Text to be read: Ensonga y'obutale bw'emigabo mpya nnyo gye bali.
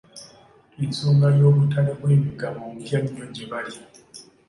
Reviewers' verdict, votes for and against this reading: accepted, 2, 1